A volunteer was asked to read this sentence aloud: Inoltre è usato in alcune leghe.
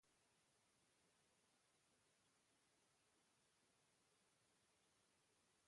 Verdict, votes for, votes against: rejected, 0, 2